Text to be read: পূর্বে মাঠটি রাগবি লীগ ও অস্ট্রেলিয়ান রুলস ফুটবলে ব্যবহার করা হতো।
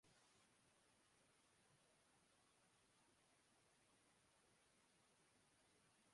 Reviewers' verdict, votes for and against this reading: rejected, 0, 2